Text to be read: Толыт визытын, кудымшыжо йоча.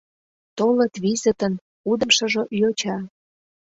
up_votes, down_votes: 2, 0